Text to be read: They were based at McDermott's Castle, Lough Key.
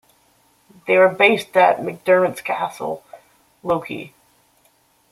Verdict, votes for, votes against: rejected, 1, 2